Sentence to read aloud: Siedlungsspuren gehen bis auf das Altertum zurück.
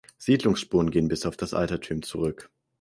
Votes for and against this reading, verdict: 2, 4, rejected